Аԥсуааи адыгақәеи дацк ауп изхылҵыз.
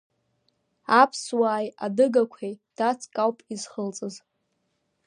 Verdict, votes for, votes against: accepted, 2, 0